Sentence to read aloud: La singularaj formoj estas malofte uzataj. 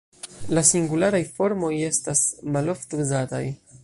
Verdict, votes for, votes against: accepted, 2, 1